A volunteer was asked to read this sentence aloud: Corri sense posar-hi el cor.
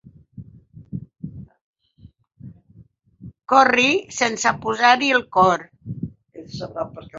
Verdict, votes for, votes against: rejected, 2, 4